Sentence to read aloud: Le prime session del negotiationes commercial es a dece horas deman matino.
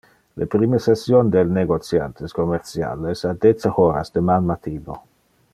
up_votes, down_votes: 1, 2